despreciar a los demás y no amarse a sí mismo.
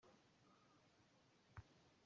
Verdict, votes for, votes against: rejected, 0, 2